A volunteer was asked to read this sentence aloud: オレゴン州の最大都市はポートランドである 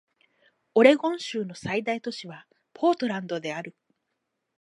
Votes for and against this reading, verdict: 4, 0, accepted